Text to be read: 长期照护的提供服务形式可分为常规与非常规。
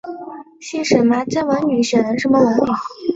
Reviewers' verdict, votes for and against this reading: accepted, 2, 0